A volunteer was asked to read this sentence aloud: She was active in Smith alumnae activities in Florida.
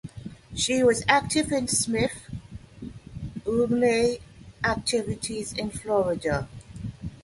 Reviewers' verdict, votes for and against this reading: rejected, 0, 2